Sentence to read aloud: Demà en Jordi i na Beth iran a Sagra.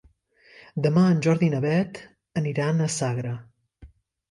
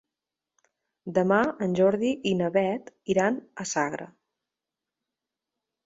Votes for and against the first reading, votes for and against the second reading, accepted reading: 1, 2, 3, 0, second